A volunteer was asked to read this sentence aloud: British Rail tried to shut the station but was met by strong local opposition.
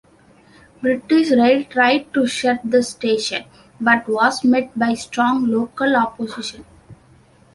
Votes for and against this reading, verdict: 2, 0, accepted